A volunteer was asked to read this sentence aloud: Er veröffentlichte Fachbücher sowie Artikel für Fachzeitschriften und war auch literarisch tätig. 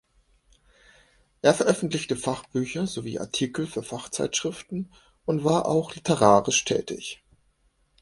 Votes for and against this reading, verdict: 2, 0, accepted